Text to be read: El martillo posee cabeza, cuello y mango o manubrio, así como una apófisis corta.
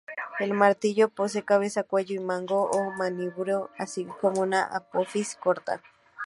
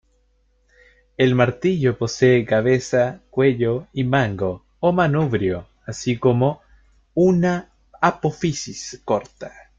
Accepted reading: first